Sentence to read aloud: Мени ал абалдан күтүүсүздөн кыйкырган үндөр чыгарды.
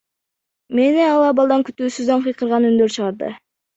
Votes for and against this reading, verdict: 1, 2, rejected